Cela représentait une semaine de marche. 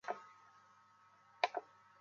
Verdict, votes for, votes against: rejected, 0, 2